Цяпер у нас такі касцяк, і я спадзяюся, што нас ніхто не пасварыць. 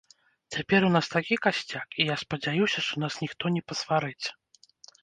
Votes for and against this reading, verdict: 0, 2, rejected